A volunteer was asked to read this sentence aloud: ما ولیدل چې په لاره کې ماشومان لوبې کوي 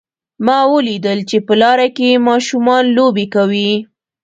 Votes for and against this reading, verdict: 0, 2, rejected